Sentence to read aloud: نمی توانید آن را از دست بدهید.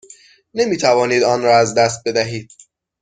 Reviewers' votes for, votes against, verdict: 6, 0, accepted